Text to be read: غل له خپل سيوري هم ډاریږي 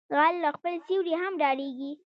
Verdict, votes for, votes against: accepted, 2, 0